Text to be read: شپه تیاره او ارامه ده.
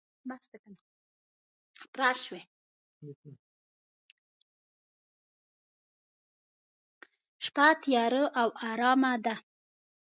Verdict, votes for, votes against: rejected, 1, 2